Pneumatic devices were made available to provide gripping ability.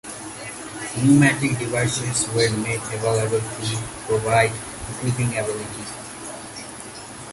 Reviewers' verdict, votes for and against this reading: rejected, 1, 2